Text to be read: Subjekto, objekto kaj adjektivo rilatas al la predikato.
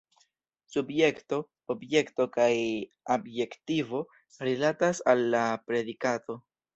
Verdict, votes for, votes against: accepted, 2, 0